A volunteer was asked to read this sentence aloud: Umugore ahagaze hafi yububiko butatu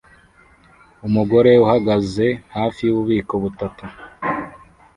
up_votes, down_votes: 1, 2